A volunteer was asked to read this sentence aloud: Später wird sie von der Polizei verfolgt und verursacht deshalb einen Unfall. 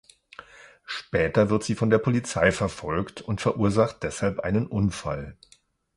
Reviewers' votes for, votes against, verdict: 2, 0, accepted